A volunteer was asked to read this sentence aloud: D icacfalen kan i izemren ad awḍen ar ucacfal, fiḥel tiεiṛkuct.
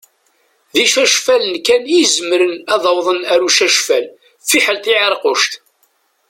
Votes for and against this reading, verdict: 2, 1, accepted